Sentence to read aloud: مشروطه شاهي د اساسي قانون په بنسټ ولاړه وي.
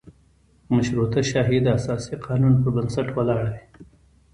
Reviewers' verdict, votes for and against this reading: accepted, 2, 0